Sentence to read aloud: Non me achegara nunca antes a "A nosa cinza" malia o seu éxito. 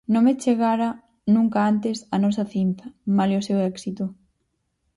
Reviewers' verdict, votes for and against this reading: rejected, 0, 4